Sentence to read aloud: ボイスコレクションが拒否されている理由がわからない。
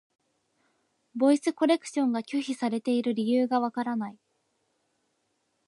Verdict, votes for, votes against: accepted, 2, 0